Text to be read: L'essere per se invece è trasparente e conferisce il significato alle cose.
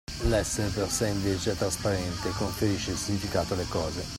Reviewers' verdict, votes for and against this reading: accepted, 2, 0